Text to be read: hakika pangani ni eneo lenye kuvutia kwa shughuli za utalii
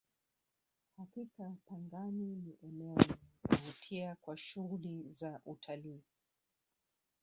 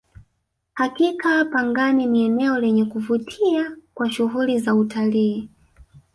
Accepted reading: second